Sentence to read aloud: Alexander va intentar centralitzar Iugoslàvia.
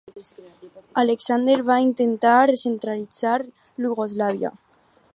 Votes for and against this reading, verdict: 2, 4, rejected